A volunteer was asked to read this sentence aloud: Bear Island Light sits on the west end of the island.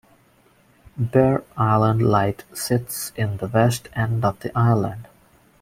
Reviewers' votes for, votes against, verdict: 1, 2, rejected